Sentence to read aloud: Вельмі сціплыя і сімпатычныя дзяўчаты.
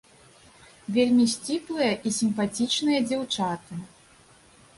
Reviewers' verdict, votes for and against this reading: rejected, 0, 2